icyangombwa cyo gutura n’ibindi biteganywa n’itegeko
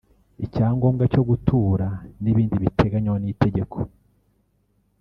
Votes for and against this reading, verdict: 1, 2, rejected